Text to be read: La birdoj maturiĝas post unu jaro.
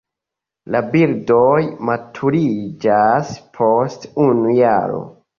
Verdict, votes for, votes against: accepted, 2, 0